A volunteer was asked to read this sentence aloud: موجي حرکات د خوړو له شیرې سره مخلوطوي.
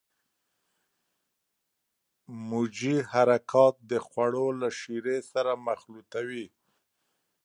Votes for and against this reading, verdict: 1, 2, rejected